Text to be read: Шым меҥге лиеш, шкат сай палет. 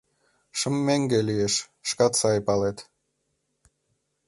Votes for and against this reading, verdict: 2, 0, accepted